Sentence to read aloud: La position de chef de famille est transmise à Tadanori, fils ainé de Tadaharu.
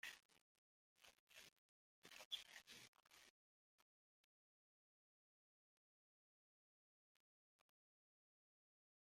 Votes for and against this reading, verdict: 0, 3, rejected